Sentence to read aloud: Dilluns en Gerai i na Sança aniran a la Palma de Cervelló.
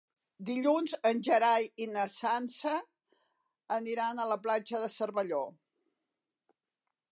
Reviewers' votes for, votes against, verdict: 0, 2, rejected